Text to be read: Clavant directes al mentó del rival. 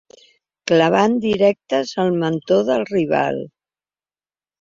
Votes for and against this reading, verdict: 3, 0, accepted